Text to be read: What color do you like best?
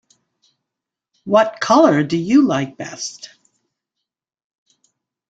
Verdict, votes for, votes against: accepted, 2, 0